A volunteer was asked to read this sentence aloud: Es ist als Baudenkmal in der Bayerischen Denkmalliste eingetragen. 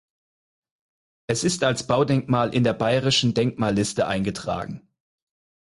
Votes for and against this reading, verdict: 4, 0, accepted